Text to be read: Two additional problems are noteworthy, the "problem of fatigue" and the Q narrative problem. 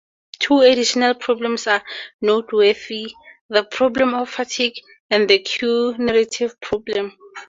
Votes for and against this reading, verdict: 2, 0, accepted